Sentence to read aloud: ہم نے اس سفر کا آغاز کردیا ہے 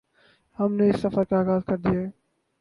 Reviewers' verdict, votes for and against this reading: rejected, 2, 2